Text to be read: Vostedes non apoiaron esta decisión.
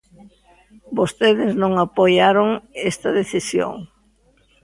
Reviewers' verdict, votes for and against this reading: accepted, 2, 0